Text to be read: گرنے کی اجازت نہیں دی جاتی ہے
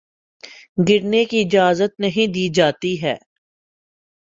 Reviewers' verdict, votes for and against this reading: accepted, 2, 0